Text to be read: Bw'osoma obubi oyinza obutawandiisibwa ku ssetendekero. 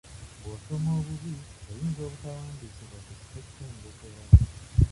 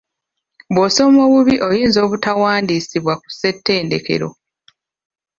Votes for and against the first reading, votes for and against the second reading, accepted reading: 0, 2, 2, 0, second